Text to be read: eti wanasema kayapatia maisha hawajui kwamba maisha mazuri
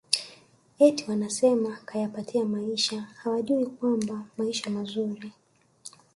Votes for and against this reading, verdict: 2, 1, accepted